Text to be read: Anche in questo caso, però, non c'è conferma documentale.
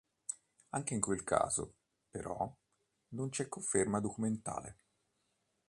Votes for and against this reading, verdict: 1, 2, rejected